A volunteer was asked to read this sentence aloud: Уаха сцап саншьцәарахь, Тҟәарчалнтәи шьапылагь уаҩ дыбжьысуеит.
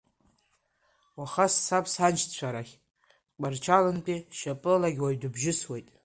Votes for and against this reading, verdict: 3, 0, accepted